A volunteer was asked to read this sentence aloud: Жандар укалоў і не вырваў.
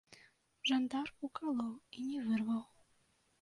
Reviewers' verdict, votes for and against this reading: rejected, 1, 2